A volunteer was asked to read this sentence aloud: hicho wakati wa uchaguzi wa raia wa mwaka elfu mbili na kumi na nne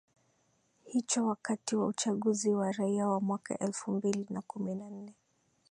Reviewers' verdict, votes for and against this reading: rejected, 1, 3